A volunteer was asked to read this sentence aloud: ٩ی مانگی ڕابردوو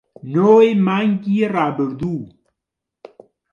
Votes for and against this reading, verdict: 0, 2, rejected